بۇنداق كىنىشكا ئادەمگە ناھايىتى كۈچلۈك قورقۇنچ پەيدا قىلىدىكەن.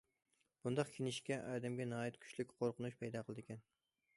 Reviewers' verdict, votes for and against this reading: accepted, 2, 0